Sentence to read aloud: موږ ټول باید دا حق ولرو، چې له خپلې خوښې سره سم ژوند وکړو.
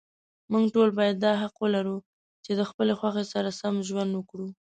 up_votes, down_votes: 2, 0